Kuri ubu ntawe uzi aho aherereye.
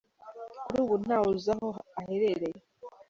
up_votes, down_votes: 2, 0